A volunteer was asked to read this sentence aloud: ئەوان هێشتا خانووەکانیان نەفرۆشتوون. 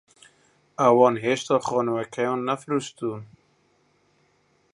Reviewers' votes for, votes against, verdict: 0, 2, rejected